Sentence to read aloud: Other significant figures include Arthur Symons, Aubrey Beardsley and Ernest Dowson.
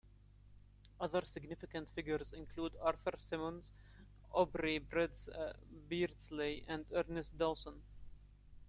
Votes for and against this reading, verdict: 0, 2, rejected